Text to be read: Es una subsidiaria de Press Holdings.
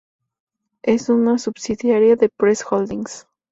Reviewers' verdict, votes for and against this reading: accepted, 2, 0